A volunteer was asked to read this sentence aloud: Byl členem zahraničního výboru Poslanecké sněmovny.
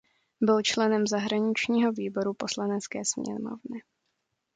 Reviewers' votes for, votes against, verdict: 2, 0, accepted